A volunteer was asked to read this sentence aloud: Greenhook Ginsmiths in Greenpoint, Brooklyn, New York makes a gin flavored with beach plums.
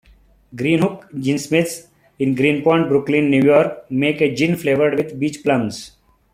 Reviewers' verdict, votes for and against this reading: rejected, 0, 2